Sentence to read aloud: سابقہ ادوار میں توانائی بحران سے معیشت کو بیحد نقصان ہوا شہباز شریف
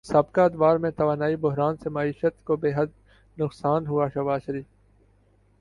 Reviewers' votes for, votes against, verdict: 2, 1, accepted